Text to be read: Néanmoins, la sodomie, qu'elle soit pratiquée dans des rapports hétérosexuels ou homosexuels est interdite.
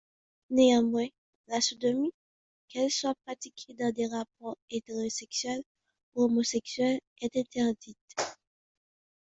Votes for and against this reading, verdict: 2, 0, accepted